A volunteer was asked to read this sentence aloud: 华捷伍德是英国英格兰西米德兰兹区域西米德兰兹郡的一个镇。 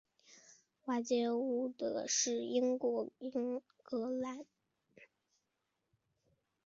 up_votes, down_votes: 1, 2